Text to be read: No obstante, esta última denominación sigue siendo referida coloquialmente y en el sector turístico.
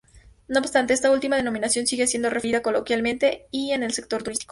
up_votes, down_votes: 2, 2